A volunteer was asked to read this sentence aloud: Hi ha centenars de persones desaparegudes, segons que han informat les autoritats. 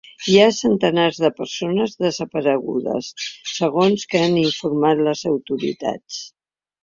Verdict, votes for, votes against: rejected, 1, 2